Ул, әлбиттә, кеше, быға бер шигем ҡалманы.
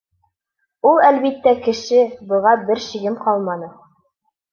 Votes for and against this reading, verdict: 2, 0, accepted